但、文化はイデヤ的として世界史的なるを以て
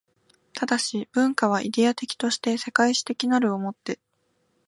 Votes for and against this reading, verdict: 2, 0, accepted